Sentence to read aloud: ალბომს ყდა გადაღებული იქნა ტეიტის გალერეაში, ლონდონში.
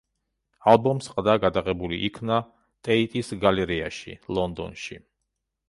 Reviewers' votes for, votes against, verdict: 2, 0, accepted